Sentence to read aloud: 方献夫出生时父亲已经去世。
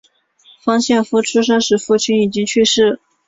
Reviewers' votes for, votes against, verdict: 2, 0, accepted